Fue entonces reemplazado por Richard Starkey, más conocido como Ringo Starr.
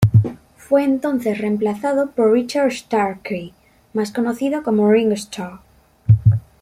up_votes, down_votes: 2, 0